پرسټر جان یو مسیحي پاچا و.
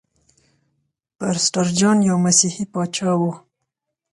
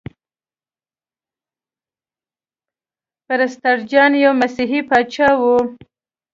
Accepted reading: first